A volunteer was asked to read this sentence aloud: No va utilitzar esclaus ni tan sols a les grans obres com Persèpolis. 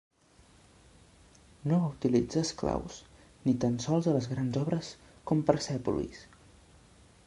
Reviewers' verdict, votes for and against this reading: accepted, 2, 0